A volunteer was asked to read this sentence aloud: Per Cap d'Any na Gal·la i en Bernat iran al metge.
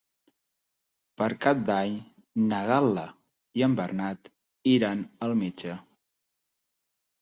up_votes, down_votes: 6, 0